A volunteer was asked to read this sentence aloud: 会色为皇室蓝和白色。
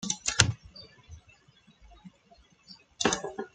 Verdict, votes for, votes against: rejected, 0, 2